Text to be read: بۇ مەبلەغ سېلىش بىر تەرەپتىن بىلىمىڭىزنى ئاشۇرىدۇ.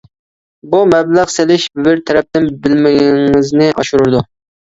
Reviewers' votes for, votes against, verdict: 0, 2, rejected